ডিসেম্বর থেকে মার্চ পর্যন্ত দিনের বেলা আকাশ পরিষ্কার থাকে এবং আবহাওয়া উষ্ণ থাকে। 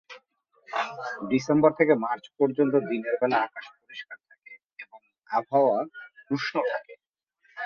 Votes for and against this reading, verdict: 0, 2, rejected